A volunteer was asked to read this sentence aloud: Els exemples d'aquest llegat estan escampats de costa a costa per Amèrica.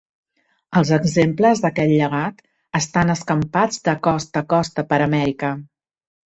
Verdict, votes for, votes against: accepted, 2, 0